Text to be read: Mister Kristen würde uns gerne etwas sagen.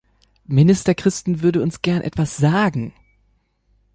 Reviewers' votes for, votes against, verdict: 1, 3, rejected